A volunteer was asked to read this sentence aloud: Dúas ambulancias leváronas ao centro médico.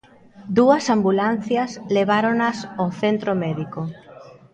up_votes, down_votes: 2, 0